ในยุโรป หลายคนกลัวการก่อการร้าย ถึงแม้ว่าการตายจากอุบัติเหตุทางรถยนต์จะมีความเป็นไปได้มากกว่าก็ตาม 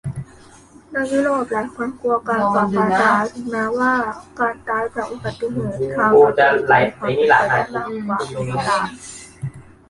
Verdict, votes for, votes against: rejected, 0, 2